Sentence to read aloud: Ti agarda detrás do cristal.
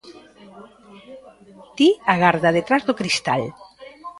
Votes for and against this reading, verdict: 0, 2, rejected